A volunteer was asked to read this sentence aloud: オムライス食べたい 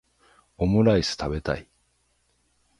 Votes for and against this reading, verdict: 0, 3, rejected